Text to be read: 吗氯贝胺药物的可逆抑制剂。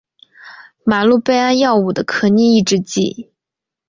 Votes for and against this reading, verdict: 2, 0, accepted